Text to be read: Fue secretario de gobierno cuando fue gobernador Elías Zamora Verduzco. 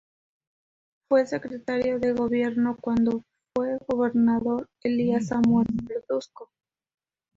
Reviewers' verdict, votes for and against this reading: rejected, 2, 2